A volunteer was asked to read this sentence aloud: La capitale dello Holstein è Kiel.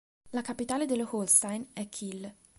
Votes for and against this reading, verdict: 3, 0, accepted